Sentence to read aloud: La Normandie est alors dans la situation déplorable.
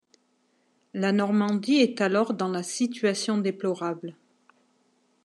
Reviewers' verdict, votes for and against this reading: accepted, 2, 0